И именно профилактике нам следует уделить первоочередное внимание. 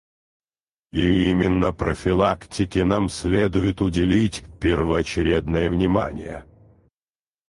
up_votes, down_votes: 0, 4